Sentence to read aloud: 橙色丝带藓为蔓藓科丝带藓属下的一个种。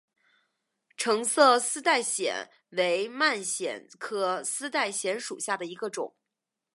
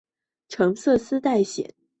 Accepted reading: first